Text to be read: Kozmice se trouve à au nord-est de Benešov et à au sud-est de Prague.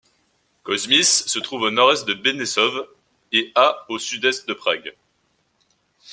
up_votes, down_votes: 2, 0